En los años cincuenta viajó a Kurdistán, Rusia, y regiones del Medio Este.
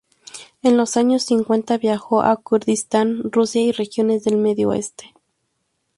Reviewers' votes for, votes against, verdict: 2, 0, accepted